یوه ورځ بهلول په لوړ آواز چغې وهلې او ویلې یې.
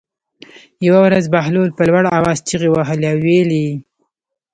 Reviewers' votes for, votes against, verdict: 2, 0, accepted